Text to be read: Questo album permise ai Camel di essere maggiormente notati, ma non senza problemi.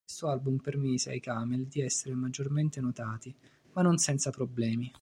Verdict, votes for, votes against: rejected, 1, 2